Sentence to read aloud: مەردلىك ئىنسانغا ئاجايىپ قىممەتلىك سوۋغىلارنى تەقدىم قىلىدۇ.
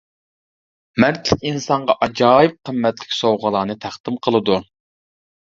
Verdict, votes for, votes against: rejected, 0, 2